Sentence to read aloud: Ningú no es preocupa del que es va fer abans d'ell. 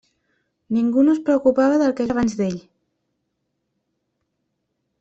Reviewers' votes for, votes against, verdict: 0, 2, rejected